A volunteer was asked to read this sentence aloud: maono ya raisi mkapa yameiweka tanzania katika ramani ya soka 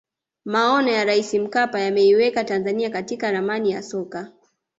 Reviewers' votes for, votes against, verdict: 2, 0, accepted